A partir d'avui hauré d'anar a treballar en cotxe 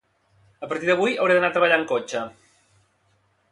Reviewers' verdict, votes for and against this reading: rejected, 0, 2